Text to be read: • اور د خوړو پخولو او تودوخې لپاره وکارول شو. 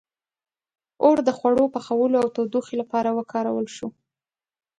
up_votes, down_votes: 2, 1